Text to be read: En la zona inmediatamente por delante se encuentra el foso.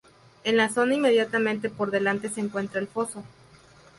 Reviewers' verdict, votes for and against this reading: rejected, 0, 2